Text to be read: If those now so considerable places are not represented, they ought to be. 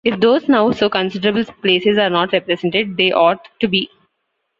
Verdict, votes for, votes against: rejected, 0, 2